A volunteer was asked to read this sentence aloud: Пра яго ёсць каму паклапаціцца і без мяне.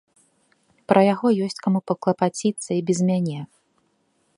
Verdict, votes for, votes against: accepted, 2, 0